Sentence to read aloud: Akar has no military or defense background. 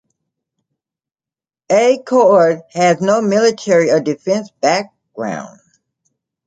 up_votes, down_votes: 2, 0